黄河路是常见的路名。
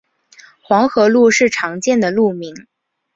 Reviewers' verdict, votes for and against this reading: accepted, 3, 0